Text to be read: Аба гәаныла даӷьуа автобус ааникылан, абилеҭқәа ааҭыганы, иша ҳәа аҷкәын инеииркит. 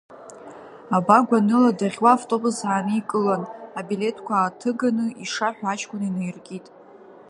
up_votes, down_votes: 3, 1